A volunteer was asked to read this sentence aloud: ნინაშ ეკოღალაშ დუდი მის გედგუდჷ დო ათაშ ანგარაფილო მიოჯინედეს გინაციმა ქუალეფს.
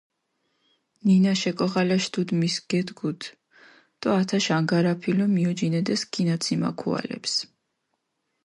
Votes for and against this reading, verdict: 2, 0, accepted